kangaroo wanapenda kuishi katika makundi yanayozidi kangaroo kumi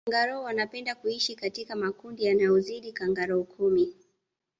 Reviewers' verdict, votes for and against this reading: accepted, 2, 0